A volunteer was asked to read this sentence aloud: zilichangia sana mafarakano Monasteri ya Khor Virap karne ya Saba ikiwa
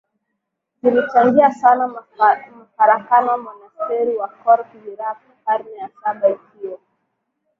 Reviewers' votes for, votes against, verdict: 2, 0, accepted